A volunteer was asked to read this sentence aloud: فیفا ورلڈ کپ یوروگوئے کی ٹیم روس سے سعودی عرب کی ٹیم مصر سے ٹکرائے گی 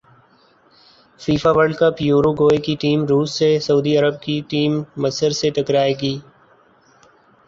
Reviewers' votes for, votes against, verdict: 0, 2, rejected